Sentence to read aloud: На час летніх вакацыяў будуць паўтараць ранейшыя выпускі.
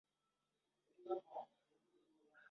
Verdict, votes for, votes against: rejected, 0, 2